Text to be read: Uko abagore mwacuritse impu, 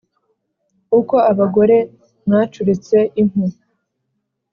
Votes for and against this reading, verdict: 2, 1, accepted